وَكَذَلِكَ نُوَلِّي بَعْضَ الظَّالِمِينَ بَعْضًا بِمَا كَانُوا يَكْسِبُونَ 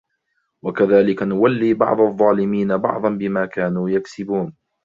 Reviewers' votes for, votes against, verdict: 2, 0, accepted